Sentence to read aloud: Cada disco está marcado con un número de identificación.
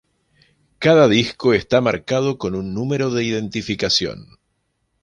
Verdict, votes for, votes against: accepted, 2, 0